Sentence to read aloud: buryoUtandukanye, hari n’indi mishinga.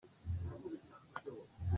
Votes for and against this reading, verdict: 0, 2, rejected